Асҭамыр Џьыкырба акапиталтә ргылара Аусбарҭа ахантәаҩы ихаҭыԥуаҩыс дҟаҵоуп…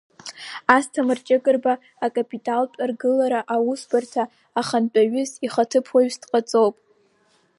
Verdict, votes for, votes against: accepted, 6, 1